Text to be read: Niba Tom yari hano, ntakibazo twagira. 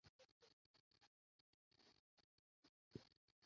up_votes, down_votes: 0, 2